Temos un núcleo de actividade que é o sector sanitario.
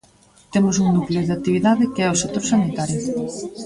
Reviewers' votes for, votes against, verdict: 2, 0, accepted